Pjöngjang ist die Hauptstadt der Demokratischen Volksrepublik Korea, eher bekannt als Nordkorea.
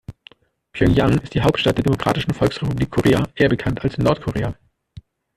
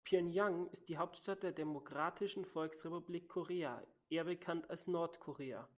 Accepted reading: second